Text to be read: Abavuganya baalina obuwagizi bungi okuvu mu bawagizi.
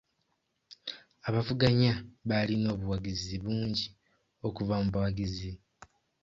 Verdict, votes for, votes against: accepted, 2, 1